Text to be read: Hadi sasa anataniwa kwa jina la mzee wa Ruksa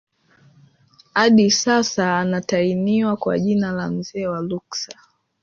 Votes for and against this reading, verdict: 2, 0, accepted